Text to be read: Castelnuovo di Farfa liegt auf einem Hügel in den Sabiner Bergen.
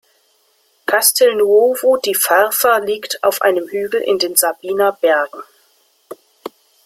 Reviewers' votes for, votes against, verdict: 2, 0, accepted